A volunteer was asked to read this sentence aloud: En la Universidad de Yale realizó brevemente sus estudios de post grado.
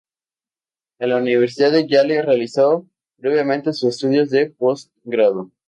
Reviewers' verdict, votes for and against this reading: rejected, 2, 2